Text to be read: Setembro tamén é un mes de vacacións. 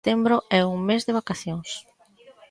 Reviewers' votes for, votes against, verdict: 1, 2, rejected